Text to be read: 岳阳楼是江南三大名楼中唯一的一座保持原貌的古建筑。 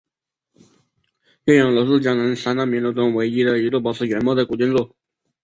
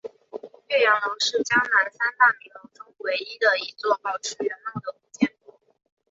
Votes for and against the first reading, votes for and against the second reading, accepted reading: 2, 2, 5, 1, second